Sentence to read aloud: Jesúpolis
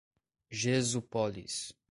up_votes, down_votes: 1, 2